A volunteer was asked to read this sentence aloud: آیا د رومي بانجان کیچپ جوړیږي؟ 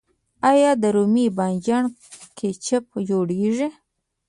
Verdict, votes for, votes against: accepted, 2, 0